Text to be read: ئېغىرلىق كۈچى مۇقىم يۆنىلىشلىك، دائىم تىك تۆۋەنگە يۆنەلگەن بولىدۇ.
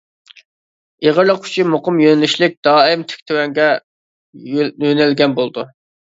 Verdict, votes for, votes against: rejected, 2, 3